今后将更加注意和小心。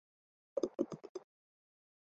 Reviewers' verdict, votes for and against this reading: rejected, 1, 3